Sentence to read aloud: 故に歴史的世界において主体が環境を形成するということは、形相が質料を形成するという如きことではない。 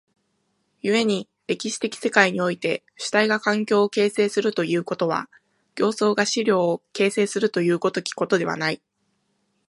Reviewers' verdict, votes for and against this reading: accepted, 2, 0